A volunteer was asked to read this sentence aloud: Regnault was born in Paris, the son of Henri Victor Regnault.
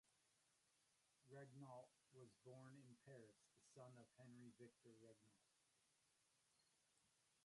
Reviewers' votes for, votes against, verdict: 0, 2, rejected